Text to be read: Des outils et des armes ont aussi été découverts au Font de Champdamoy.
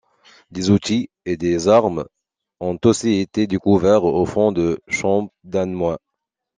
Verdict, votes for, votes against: accepted, 2, 0